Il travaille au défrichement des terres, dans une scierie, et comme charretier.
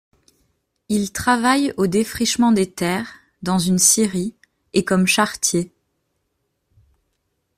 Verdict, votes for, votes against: accepted, 2, 0